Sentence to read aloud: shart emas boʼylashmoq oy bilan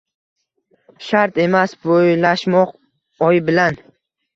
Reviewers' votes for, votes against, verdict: 1, 2, rejected